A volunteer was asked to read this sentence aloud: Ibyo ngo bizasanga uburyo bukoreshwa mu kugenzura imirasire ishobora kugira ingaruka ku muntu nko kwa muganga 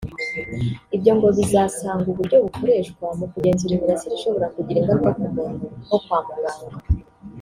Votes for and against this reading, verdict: 1, 2, rejected